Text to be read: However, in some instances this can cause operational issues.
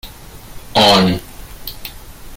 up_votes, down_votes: 0, 2